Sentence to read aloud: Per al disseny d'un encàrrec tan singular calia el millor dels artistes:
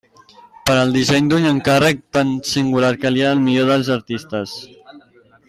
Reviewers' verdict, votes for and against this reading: accepted, 2, 0